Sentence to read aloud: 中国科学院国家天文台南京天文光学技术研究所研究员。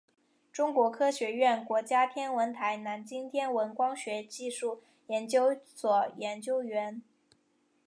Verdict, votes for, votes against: accepted, 3, 0